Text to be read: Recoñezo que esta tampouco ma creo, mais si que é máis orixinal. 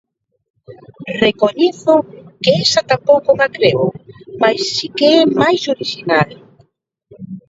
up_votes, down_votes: 0, 2